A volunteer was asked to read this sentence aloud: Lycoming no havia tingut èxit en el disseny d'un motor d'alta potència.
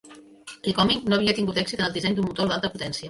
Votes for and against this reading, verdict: 1, 2, rejected